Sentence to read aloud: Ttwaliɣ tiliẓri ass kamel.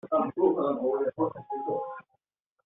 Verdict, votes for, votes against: rejected, 0, 2